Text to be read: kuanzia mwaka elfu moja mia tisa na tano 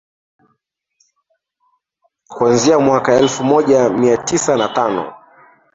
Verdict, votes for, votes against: rejected, 0, 2